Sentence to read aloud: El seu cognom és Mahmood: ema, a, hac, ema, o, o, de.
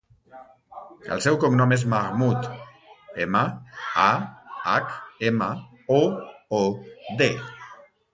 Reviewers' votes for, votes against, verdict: 0, 2, rejected